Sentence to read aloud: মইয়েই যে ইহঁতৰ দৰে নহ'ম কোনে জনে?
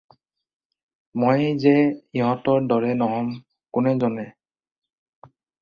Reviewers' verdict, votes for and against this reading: rejected, 2, 2